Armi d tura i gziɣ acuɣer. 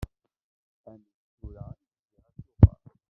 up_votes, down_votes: 0, 2